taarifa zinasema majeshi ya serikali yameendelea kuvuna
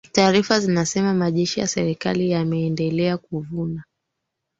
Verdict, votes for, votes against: rejected, 2, 3